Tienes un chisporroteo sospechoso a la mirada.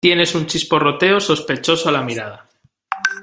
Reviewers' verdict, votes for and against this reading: rejected, 1, 2